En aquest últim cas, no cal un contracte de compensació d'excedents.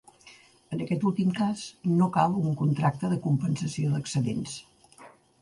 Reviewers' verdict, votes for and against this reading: accepted, 3, 0